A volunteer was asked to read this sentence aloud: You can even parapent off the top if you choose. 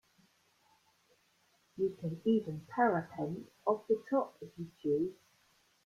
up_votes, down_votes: 1, 2